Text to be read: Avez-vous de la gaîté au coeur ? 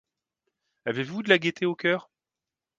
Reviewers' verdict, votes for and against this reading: accepted, 2, 0